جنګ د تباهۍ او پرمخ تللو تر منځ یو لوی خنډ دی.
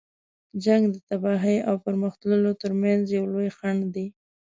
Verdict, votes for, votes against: accepted, 2, 0